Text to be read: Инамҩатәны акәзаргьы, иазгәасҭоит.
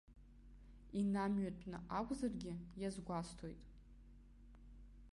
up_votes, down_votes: 2, 0